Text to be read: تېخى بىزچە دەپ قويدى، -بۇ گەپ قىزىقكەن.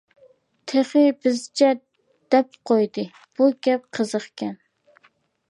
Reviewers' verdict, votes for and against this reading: accepted, 2, 0